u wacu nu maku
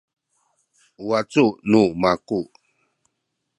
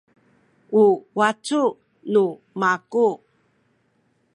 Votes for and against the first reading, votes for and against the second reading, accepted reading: 2, 0, 1, 2, first